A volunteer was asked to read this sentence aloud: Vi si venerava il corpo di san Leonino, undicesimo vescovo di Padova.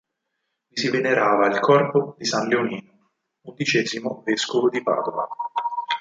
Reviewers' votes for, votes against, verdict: 2, 4, rejected